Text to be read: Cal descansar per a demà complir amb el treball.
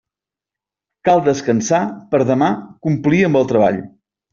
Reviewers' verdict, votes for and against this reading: accepted, 2, 0